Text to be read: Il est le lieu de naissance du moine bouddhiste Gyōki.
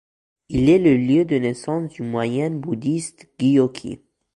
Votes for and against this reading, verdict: 2, 0, accepted